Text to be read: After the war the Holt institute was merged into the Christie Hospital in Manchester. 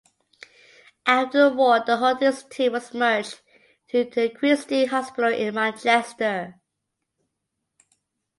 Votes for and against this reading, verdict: 0, 2, rejected